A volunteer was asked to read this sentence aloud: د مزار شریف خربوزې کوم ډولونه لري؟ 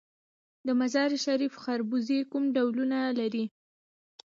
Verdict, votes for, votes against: accepted, 2, 0